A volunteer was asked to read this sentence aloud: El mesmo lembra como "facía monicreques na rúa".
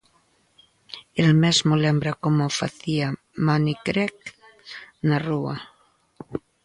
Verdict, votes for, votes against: rejected, 0, 2